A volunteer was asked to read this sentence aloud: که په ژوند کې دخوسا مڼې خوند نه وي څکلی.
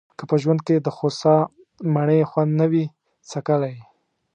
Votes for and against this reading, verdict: 2, 0, accepted